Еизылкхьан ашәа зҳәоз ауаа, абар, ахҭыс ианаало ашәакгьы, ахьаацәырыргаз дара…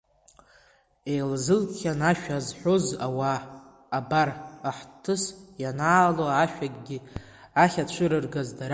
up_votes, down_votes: 1, 2